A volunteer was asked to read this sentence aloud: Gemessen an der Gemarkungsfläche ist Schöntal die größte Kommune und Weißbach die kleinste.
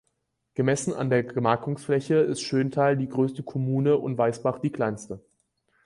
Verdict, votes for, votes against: accepted, 4, 2